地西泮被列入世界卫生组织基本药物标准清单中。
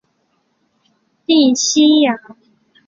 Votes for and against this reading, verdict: 0, 3, rejected